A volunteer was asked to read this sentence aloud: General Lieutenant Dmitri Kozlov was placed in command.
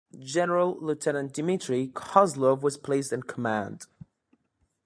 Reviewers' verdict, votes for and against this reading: accepted, 2, 0